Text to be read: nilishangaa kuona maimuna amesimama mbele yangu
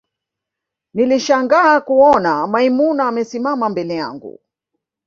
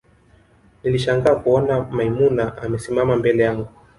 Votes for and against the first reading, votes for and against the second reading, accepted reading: 1, 2, 2, 1, second